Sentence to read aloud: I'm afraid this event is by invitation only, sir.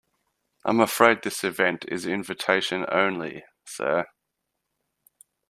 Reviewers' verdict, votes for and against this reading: rejected, 0, 2